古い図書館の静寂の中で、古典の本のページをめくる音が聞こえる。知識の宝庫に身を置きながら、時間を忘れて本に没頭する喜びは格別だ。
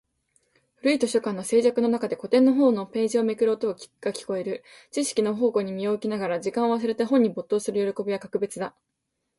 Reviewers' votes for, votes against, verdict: 2, 0, accepted